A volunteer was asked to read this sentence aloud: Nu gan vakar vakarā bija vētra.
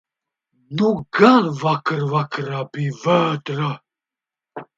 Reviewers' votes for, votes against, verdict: 0, 2, rejected